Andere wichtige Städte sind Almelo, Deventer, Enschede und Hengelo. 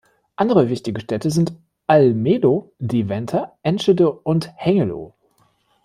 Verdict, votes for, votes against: accepted, 2, 0